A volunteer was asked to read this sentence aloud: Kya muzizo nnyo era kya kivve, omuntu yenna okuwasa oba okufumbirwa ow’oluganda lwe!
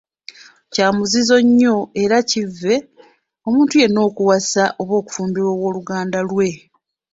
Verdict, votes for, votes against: accepted, 2, 1